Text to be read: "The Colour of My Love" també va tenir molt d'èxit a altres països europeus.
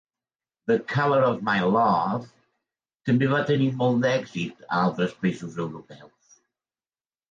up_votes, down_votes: 2, 0